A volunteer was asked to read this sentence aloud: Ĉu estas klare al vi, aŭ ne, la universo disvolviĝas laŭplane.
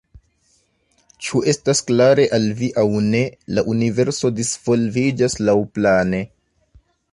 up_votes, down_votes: 2, 1